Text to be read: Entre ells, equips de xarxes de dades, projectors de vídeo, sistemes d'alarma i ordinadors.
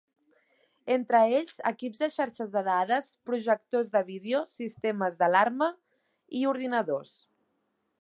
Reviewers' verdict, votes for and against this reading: accepted, 2, 0